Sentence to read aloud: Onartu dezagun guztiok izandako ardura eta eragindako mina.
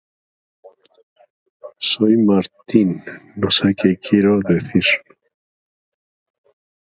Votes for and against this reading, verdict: 0, 3, rejected